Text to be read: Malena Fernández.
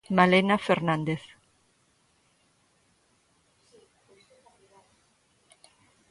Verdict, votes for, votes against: rejected, 1, 2